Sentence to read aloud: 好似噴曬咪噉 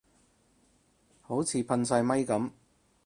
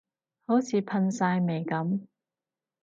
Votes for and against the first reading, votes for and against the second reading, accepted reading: 2, 0, 0, 2, first